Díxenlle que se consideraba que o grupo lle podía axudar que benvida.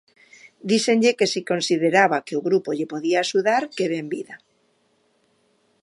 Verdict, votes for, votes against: accepted, 2, 1